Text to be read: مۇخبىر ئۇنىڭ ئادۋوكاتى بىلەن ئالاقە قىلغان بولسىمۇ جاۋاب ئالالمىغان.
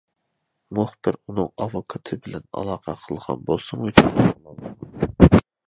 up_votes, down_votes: 0, 2